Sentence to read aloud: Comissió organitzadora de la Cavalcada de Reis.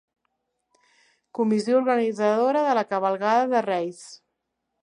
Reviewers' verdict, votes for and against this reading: rejected, 1, 2